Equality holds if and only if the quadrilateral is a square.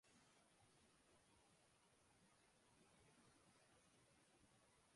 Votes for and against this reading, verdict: 0, 2, rejected